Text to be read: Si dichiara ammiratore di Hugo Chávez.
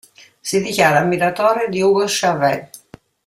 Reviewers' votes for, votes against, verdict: 0, 2, rejected